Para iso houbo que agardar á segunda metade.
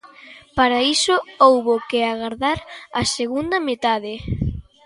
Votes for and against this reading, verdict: 2, 0, accepted